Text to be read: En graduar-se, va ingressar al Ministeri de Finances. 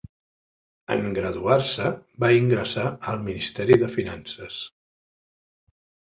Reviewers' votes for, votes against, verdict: 0, 2, rejected